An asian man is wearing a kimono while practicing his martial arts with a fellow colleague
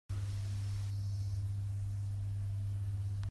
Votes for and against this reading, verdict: 1, 2, rejected